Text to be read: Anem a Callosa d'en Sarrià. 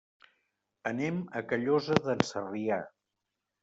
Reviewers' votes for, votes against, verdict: 3, 0, accepted